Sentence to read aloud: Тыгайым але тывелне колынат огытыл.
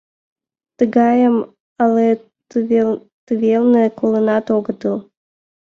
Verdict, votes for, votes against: rejected, 0, 2